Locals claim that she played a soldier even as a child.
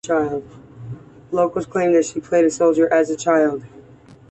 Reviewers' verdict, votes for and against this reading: rejected, 0, 2